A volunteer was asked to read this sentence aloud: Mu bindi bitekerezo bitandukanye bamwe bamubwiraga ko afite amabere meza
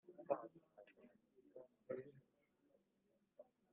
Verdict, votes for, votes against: rejected, 1, 2